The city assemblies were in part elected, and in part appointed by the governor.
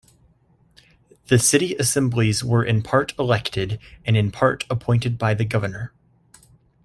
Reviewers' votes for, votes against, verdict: 2, 0, accepted